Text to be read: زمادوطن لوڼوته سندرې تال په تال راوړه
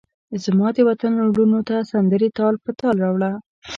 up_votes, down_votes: 2, 0